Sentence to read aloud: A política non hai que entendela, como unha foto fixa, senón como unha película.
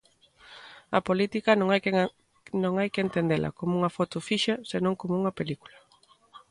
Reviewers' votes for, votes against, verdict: 0, 2, rejected